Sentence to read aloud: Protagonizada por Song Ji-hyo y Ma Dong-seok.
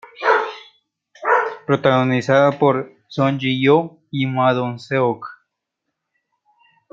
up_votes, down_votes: 0, 2